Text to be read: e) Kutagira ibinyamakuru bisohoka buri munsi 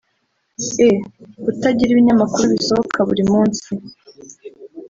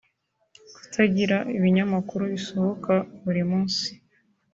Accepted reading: second